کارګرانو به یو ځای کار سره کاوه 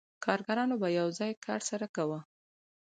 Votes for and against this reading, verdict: 4, 0, accepted